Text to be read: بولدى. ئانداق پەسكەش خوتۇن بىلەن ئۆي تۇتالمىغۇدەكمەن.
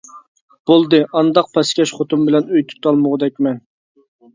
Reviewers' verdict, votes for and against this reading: accepted, 2, 0